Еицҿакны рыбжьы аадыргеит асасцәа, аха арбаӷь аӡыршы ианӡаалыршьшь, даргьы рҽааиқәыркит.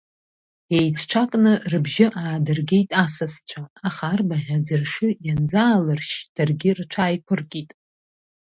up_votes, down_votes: 0, 2